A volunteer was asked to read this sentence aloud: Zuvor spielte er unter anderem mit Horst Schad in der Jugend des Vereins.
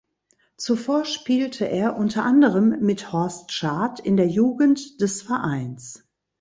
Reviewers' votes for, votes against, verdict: 2, 0, accepted